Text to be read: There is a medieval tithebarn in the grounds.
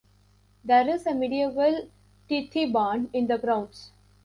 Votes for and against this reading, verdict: 0, 2, rejected